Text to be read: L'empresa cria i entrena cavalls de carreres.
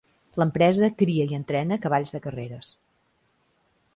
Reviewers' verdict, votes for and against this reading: accepted, 2, 0